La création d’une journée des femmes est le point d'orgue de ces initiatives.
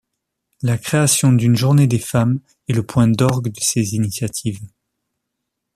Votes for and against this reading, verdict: 3, 0, accepted